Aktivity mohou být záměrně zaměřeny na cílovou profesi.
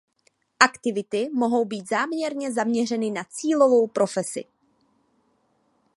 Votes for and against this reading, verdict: 2, 0, accepted